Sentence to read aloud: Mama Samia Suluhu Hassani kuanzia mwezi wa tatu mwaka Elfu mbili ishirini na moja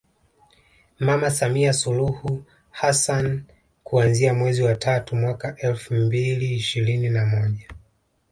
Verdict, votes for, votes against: accepted, 2, 1